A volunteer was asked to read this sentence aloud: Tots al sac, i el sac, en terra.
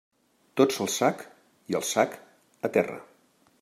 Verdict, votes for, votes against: rejected, 0, 2